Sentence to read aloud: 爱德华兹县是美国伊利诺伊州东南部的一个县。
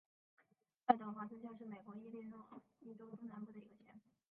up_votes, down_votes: 4, 5